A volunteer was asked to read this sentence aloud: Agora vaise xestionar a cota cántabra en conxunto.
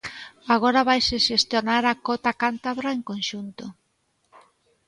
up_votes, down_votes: 2, 0